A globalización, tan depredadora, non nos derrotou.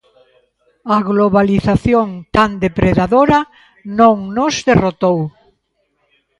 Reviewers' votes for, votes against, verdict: 2, 0, accepted